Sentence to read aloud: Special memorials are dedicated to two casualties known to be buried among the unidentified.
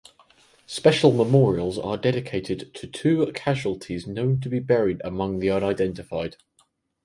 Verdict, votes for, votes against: accepted, 4, 0